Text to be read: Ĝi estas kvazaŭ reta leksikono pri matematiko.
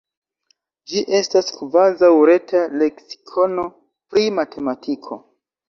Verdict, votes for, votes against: accepted, 2, 1